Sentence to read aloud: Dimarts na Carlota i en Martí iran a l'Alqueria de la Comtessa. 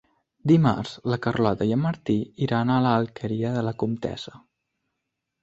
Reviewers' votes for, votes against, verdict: 1, 2, rejected